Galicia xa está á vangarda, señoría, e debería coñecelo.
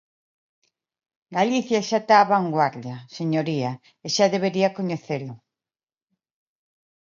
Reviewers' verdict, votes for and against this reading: rejected, 0, 2